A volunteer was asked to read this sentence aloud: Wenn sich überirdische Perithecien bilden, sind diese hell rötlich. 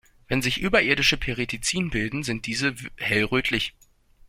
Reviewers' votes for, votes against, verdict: 0, 2, rejected